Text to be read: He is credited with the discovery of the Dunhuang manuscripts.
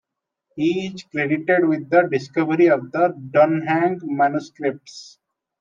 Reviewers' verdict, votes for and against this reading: accepted, 2, 1